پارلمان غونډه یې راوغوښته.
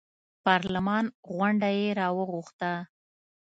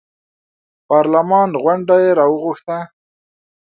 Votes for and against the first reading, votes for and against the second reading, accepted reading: 1, 2, 2, 0, second